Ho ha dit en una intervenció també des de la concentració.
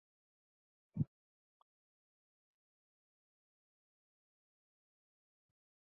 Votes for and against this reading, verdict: 0, 2, rejected